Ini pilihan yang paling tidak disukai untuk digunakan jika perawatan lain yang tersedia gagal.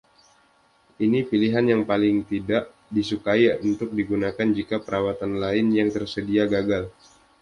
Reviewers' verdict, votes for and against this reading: accepted, 2, 0